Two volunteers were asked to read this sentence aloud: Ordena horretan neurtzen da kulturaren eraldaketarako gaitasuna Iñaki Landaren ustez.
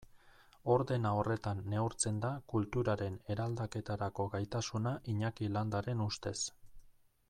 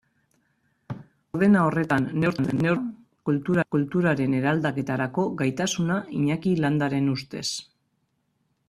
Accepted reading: first